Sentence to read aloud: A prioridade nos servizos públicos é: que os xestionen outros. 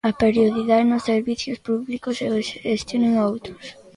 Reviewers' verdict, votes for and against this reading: rejected, 0, 2